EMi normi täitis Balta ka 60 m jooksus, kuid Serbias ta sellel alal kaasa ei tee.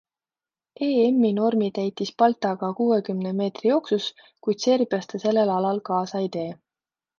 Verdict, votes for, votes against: rejected, 0, 2